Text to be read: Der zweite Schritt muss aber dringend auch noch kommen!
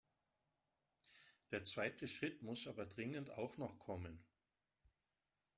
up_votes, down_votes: 2, 0